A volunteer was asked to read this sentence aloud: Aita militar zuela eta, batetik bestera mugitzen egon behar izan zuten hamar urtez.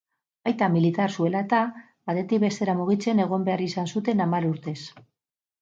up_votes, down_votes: 4, 0